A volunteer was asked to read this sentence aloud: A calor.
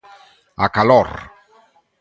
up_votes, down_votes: 4, 0